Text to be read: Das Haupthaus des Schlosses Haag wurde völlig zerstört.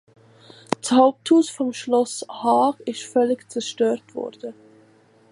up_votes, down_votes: 0, 2